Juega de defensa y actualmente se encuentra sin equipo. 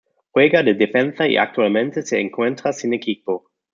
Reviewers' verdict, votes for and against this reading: accepted, 2, 0